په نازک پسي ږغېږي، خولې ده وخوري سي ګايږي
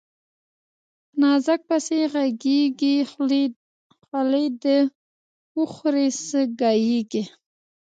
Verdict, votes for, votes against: rejected, 1, 2